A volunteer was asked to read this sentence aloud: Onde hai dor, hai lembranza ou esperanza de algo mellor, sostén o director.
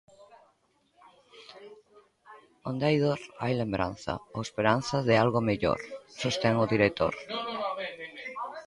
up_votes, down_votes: 1, 2